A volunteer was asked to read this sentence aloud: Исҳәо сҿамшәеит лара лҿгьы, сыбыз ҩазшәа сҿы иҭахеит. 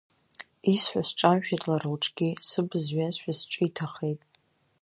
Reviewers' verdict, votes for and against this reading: rejected, 1, 2